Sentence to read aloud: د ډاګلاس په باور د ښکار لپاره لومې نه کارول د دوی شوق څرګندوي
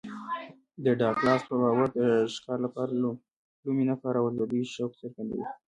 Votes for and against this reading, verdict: 2, 0, accepted